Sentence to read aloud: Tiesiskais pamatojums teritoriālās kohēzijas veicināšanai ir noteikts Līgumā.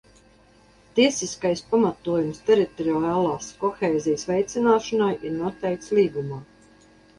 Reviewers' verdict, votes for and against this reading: accepted, 2, 0